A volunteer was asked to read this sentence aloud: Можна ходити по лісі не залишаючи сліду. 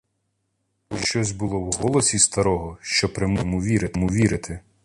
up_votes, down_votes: 0, 2